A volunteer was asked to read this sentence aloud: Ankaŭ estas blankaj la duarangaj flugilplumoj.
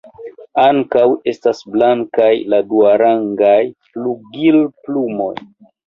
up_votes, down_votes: 1, 2